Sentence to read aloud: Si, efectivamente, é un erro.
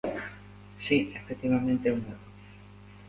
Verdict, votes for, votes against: accepted, 2, 0